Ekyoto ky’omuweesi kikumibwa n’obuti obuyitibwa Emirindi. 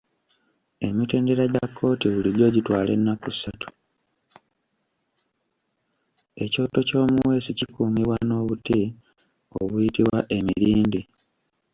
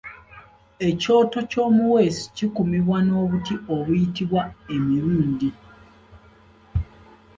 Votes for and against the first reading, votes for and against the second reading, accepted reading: 1, 2, 2, 0, second